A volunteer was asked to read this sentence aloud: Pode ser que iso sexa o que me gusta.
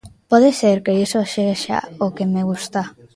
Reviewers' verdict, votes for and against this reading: accepted, 2, 0